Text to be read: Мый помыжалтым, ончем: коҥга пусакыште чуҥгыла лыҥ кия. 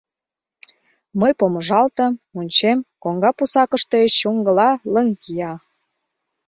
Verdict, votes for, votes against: accepted, 2, 0